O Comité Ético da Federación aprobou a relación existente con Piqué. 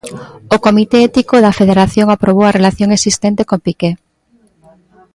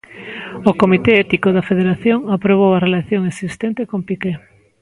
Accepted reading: second